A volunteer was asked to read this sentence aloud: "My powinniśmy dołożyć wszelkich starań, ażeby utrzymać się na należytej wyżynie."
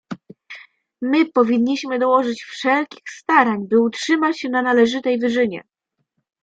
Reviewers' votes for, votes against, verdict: 1, 2, rejected